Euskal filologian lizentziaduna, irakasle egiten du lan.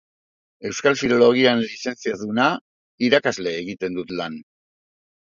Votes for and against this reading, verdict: 0, 2, rejected